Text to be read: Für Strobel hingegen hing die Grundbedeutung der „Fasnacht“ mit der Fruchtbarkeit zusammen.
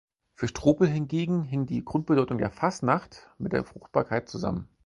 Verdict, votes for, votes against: accepted, 4, 0